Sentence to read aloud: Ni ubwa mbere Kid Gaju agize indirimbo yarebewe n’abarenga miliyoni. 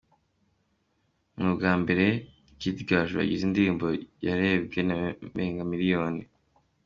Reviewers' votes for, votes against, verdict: 2, 0, accepted